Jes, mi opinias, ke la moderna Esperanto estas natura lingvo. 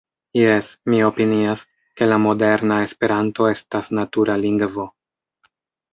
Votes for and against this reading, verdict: 2, 0, accepted